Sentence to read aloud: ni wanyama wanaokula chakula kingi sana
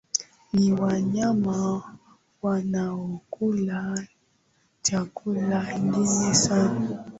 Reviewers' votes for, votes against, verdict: 11, 3, accepted